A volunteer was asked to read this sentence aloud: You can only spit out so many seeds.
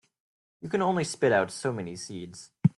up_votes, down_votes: 3, 0